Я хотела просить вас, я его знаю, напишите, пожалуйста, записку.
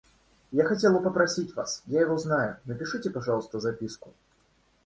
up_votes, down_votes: 1, 2